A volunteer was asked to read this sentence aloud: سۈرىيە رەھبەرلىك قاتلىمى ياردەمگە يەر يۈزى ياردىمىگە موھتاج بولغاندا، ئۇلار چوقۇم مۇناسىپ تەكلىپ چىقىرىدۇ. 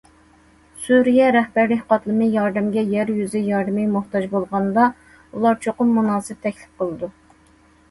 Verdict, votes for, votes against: rejected, 0, 2